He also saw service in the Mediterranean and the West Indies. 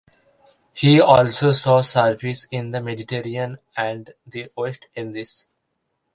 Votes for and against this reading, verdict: 1, 2, rejected